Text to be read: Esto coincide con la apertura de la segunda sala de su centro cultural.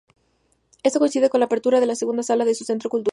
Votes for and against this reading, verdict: 0, 2, rejected